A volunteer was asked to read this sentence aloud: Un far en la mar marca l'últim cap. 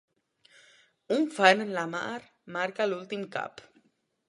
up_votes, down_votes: 0, 2